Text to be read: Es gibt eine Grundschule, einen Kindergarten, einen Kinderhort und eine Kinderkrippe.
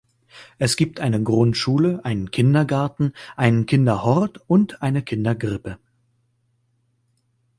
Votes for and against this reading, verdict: 0, 2, rejected